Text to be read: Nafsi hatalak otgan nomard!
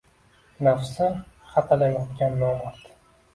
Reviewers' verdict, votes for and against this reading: accepted, 2, 0